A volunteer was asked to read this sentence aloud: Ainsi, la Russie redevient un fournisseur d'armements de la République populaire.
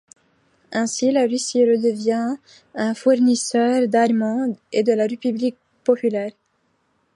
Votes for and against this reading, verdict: 0, 2, rejected